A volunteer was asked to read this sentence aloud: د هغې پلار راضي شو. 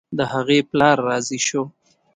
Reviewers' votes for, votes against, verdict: 2, 1, accepted